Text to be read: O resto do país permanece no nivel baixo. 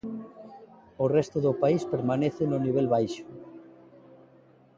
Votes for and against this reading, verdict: 2, 0, accepted